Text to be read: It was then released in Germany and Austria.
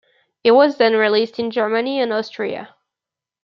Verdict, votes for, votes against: accepted, 2, 0